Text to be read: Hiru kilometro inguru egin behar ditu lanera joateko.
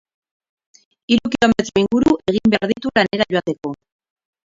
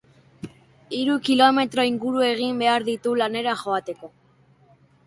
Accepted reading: second